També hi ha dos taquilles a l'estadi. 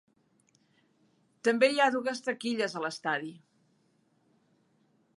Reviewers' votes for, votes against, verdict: 0, 3, rejected